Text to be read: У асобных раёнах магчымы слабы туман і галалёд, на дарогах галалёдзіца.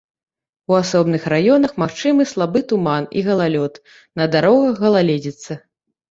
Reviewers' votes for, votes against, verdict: 0, 2, rejected